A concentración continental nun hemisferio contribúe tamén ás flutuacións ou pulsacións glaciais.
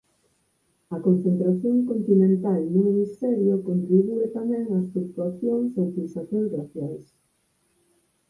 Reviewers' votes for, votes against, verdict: 4, 0, accepted